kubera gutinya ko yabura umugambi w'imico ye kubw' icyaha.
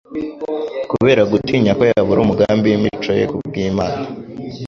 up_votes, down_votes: 1, 3